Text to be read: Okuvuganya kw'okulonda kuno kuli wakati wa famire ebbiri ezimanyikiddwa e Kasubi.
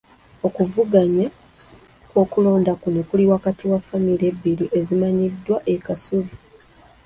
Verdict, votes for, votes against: accepted, 2, 0